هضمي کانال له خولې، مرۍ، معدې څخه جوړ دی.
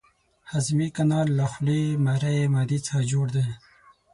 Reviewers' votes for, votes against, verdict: 6, 0, accepted